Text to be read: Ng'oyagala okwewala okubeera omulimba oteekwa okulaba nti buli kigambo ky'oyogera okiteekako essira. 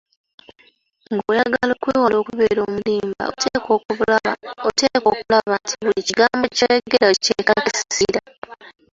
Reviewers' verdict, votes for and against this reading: rejected, 1, 2